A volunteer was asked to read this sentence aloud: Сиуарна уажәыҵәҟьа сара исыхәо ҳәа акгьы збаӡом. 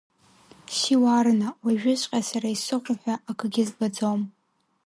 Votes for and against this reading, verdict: 1, 2, rejected